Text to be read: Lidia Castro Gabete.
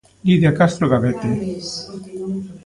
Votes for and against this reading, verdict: 1, 2, rejected